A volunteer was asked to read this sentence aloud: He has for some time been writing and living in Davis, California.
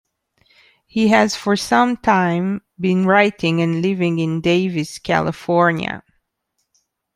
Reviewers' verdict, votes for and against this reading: accepted, 2, 0